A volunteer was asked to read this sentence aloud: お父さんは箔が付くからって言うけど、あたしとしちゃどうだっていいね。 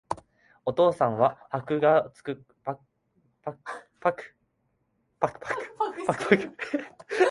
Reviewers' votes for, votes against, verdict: 2, 5, rejected